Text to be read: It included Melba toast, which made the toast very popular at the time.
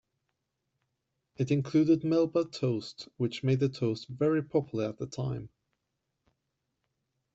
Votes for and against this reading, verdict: 2, 0, accepted